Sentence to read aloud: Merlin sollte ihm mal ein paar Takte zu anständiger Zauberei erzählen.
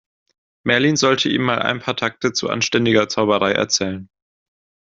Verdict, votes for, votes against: accepted, 2, 0